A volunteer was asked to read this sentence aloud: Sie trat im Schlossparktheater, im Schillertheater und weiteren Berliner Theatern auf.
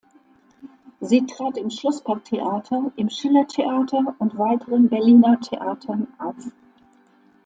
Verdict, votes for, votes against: accepted, 2, 0